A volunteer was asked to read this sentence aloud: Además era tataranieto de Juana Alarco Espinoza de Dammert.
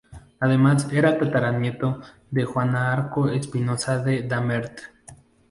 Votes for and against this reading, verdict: 0, 2, rejected